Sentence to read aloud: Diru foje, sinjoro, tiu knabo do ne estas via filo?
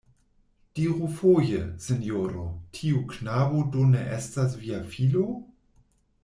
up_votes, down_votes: 2, 0